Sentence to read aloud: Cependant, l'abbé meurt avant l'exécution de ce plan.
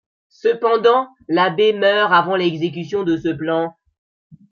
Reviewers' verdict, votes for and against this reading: accepted, 2, 1